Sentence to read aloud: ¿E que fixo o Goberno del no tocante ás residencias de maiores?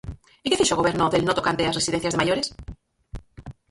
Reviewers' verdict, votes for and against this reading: rejected, 0, 6